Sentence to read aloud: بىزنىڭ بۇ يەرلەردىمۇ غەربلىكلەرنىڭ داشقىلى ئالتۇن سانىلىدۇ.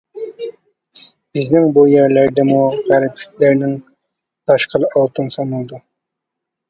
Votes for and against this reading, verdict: 1, 2, rejected